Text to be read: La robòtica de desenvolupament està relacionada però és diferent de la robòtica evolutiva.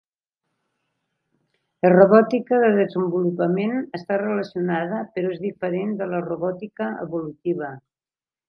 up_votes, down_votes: 2, 0